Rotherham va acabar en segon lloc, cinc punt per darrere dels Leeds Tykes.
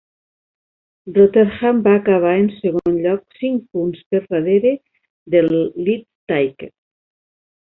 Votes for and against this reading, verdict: 1, 3, rejected